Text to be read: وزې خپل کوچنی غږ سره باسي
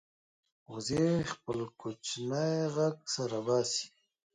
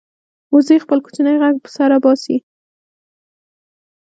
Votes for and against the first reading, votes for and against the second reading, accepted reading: 2, 1, 1, 2, first